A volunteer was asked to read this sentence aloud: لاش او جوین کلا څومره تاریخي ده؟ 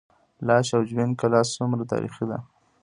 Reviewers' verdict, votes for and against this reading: accepted, 2, 1